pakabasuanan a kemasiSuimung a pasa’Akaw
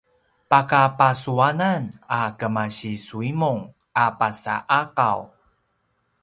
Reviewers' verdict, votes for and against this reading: accepted, 3, 0